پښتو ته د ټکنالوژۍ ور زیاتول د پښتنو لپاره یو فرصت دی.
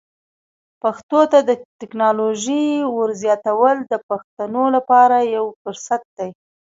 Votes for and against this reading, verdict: 2, 0, accepted